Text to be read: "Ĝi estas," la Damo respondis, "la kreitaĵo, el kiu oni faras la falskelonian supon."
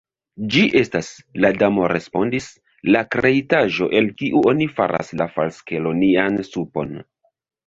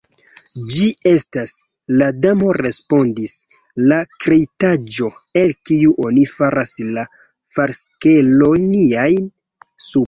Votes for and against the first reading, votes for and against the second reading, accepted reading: 2, 1, 1, 2, first